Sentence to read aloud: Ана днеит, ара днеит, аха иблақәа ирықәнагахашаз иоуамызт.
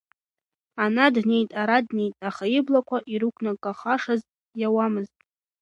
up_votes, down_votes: 2, 1